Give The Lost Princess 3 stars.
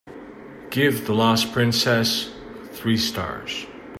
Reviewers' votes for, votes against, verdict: 0, 2, rejected